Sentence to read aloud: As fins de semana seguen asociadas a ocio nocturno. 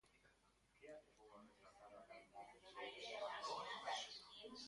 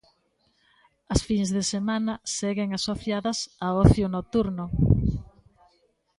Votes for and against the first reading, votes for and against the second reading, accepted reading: 0, 2, 2, 0, second